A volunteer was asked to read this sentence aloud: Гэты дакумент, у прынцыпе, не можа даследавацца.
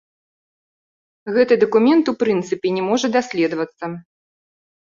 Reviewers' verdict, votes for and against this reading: accepted, 2, 0